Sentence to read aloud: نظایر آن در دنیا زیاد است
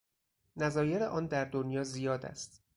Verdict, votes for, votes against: rejected, 0, 2